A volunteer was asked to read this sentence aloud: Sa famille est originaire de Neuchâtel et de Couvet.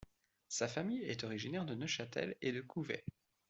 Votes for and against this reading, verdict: 2, 0, accepted